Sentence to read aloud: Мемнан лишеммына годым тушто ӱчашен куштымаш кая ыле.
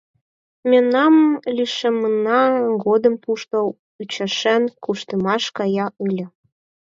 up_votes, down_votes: 2, 4